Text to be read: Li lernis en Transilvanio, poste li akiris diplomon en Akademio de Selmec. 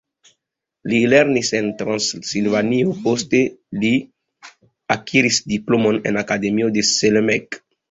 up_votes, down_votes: 2, 3